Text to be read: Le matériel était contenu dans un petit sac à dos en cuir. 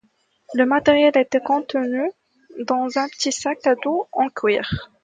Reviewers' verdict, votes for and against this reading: accepted, 2, 0